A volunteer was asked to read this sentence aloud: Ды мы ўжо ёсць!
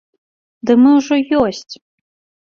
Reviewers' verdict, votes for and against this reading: accepted, 3, 0